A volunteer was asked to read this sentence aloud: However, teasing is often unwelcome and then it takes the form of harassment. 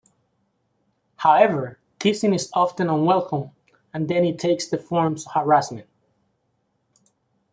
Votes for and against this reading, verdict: 2, 1, accepted